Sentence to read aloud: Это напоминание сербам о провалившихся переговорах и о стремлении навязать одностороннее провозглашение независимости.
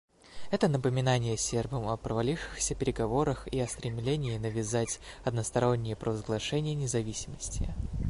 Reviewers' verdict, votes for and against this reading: accepted, 2, 0